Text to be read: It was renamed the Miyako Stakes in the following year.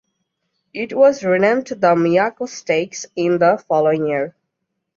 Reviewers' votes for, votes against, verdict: 1, 2, rejected